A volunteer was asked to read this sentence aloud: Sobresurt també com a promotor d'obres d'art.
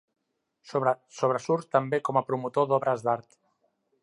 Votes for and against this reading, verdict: 1, 2, rejected